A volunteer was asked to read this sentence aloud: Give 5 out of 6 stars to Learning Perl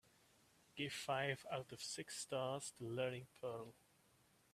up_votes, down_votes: 0, 2